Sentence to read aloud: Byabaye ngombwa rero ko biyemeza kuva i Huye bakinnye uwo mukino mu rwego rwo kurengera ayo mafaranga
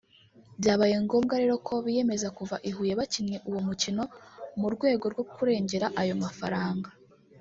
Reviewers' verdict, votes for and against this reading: accepted, 2, 1